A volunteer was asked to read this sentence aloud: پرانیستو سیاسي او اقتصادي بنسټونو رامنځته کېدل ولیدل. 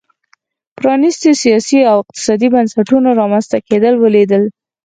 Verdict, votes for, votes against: accepted, 4, 0